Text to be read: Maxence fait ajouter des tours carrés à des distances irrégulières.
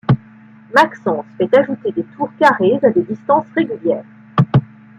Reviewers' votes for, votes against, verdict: 1, 2, rejected